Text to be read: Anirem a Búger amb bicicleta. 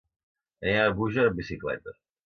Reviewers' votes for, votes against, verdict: 0, 2, rejected